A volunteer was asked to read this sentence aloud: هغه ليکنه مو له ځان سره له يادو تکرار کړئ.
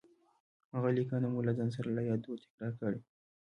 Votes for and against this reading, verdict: 0, 2, rejected